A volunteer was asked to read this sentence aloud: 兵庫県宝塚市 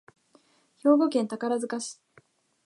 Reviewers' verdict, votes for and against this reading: accepted, 5, 0